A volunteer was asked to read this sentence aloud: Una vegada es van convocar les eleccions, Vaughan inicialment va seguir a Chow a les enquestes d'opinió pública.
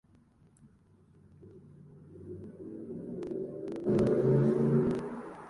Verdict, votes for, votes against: rejected, 1, 2